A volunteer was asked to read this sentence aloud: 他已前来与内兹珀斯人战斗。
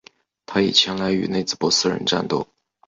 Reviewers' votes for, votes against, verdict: 2, 0, accepted